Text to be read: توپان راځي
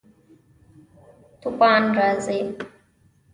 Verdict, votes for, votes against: rejected, 1, 2